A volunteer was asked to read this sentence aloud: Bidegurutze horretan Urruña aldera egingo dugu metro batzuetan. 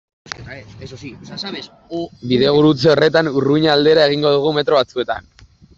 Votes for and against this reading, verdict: 1, 2, rejected